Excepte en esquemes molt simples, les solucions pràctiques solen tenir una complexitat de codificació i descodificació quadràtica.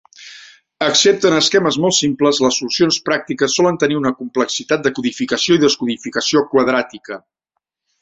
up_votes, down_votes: 3, 0